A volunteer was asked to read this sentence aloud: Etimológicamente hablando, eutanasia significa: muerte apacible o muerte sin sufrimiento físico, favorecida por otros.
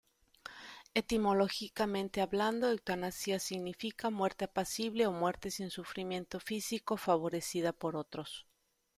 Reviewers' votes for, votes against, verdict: 0, 2, rejected